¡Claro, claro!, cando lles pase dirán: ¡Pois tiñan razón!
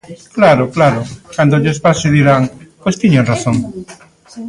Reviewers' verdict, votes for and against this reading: rejected, 1, 2